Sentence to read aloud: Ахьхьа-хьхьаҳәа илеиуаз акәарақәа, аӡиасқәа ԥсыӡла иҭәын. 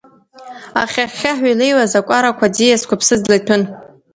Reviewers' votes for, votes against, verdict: 2, 0, accepted